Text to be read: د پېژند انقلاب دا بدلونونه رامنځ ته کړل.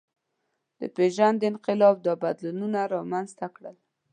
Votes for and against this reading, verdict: 2, 0, accepted